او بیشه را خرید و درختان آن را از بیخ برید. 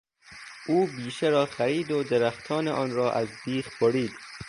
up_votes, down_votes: 3, 0